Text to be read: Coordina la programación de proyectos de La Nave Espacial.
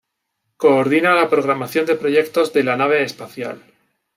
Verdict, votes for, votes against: accepted, 2, 0